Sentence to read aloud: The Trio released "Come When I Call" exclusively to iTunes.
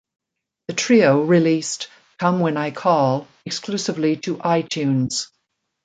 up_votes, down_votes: 2, 0